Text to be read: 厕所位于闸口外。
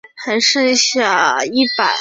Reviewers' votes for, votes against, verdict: 0, 4, rejected